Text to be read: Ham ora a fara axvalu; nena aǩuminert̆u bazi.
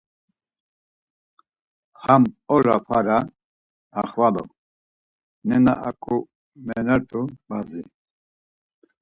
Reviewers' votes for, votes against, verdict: 2, 4, rejected